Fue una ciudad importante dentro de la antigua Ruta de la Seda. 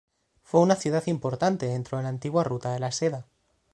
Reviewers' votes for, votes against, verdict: 1, 2, rejected